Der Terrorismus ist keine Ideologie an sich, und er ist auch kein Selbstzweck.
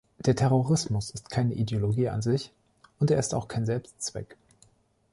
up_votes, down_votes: 2, 1